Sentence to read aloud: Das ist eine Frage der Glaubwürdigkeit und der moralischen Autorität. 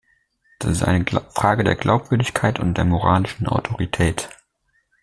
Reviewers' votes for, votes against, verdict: 0, 2, rejected